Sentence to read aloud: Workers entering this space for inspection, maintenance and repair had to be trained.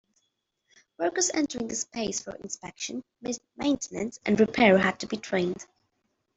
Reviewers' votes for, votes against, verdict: 2, 1, accepted